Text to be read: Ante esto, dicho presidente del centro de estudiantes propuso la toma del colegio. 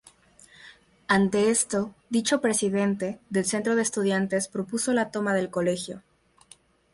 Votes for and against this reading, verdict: 4, 0, accepted